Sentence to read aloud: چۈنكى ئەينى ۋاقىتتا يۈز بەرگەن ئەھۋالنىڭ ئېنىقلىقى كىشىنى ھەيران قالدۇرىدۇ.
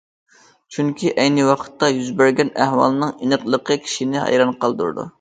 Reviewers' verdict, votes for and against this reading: accepted, 2, 0